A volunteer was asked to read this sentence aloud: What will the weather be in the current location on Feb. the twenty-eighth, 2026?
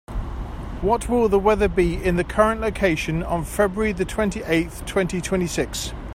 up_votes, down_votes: 0, 2